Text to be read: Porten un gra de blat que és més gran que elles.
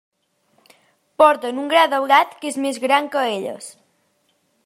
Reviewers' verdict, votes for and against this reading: rejected, 0, 2